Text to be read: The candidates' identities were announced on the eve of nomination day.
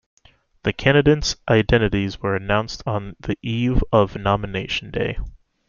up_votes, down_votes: 2, 0